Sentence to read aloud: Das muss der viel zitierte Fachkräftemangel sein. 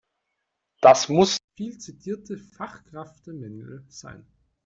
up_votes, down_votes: 0, 2